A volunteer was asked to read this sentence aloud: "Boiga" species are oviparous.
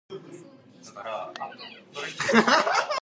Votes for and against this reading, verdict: 0, 2, rejected